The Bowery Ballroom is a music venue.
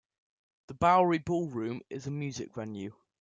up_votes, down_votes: 0, 2